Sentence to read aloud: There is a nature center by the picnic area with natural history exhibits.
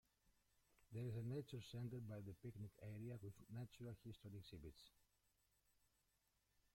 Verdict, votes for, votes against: rejected, 0, 2